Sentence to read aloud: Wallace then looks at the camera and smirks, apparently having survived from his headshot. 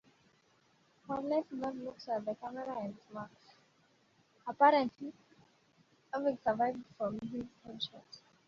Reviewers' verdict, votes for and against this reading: rejected, 0, 2